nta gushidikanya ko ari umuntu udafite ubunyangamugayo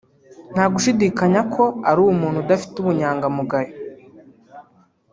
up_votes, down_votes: 1, 2